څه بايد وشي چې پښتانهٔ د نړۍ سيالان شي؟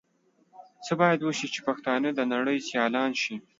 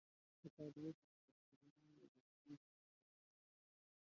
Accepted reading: first